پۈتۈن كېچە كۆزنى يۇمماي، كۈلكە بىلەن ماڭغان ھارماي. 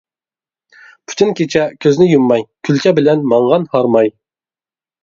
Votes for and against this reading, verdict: 2, 0, accepted